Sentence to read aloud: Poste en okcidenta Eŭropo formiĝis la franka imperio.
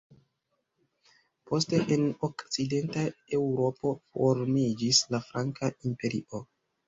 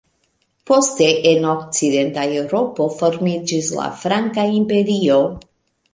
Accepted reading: second